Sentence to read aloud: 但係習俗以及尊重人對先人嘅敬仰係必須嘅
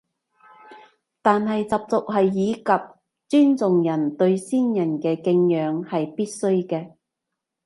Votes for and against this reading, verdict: 0, 2, rejected